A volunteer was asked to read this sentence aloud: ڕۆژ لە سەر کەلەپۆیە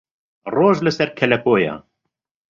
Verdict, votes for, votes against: accepted, 2, 0